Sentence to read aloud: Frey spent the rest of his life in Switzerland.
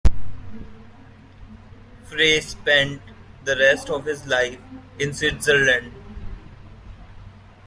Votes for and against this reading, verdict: 2, 0, accepted